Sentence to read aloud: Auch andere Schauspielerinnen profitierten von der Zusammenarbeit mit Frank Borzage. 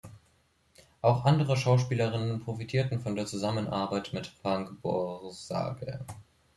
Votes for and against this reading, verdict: 1, 2, rejected